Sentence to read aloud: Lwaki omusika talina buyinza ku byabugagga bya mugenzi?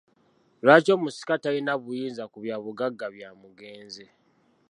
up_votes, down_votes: 2, 1